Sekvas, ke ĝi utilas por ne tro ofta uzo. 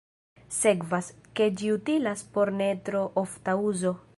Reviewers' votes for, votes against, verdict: 0, 2, rejected